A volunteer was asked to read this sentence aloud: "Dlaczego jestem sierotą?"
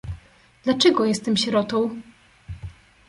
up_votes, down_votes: 2, 0